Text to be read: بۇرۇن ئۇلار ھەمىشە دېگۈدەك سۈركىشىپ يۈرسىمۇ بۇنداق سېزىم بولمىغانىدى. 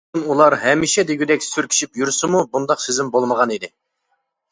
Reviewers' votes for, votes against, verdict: 0, 2, rejected